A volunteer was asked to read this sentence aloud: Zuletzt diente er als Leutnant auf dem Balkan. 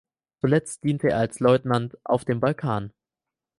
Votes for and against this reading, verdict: 4, 0, accepted